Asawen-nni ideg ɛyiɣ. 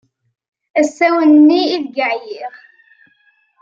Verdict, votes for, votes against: accepted, 2, 0